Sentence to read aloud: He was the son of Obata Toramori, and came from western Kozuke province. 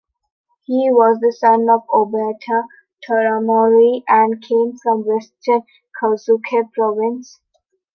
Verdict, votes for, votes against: accepted, 3, 1